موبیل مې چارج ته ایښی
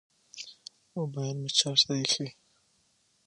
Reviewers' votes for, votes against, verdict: 6, 0, accepted